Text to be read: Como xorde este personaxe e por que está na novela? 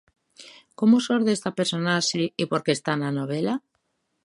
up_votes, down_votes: 1, 2